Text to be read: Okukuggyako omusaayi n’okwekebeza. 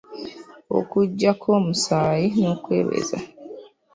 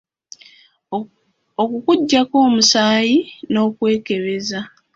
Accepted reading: second